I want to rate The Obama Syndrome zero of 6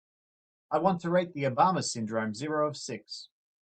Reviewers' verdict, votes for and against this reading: rejected, 0, 2